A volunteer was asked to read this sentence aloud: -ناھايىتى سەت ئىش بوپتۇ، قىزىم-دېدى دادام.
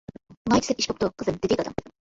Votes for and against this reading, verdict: 0, 2, rejected